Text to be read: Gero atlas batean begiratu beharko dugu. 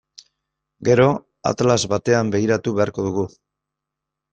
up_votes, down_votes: 2, 0